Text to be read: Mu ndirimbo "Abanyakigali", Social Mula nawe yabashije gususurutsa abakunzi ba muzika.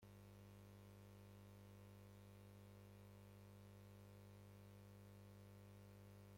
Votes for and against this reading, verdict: 1, 2, rejected